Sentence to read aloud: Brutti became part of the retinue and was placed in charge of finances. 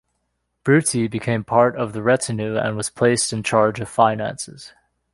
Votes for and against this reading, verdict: 2, 0, accepted